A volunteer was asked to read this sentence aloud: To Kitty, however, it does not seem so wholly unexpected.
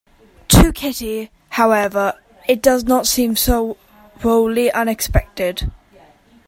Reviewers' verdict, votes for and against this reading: rejected, 1, 2